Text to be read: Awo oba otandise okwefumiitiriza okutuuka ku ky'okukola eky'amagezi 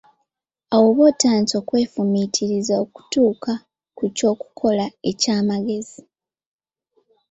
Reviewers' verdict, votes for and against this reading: accepted, 2, 0